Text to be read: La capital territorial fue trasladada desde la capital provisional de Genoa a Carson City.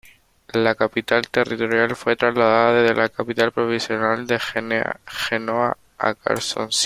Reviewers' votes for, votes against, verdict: 1, 2, rejected